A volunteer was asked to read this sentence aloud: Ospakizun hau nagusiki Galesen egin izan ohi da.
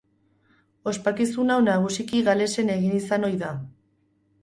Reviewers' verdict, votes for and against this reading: accepted, 4, 0